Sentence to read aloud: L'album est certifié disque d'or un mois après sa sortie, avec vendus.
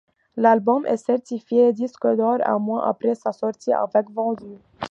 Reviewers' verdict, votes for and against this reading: accepted, 2, 0